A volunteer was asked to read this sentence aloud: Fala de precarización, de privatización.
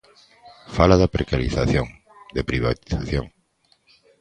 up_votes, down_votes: 2, 1